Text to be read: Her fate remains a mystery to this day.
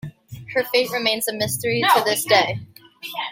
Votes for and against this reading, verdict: 0, 2, rejected